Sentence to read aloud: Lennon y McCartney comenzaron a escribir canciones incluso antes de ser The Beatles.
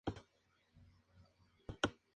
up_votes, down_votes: 0, 4